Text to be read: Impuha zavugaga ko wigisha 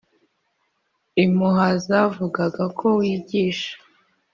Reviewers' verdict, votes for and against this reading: accepted, 2, 0